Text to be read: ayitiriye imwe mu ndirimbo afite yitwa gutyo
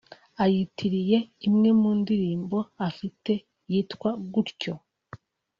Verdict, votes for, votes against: accepted, 3, 0